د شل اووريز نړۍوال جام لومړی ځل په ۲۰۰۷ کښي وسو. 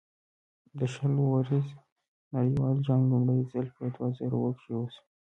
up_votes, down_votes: 0, 2